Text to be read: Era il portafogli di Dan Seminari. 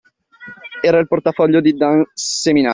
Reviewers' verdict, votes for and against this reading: rejected, 0, 2